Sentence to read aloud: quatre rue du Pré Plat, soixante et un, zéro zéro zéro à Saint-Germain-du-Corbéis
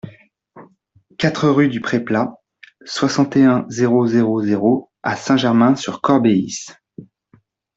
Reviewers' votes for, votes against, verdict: 0, 2, rejected